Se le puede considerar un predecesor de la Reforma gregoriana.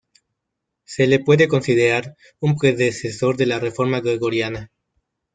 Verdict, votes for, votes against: accepted, 2, 0